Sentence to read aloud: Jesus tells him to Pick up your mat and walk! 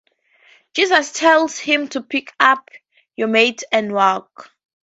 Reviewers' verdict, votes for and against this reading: accepted, 2, 0